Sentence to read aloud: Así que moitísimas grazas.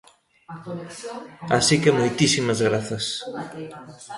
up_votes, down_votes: 2, 0